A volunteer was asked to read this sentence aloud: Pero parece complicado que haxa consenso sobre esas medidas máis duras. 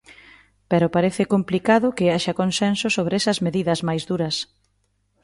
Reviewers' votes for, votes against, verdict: 2, 0, accepted